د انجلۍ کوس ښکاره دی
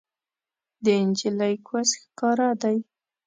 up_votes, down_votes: 1, 2